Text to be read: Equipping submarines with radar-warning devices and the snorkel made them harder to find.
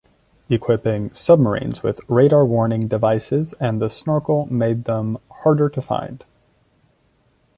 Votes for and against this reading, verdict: 2, 0, accepted